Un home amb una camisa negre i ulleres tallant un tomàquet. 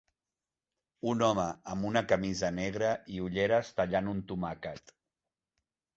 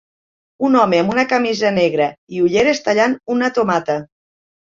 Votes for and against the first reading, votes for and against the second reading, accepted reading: 2, 0, 0, 2, first